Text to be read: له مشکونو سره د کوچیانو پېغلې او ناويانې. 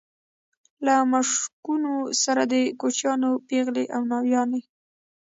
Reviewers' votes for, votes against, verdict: 2, 0, accepted